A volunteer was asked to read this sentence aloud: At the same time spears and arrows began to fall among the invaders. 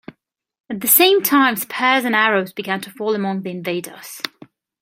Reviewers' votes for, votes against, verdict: 2, 0, accepted